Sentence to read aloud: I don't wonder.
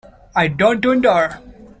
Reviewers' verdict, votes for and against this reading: rejected, 0, 2